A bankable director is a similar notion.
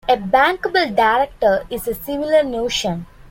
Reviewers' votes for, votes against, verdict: 2, 0, accepted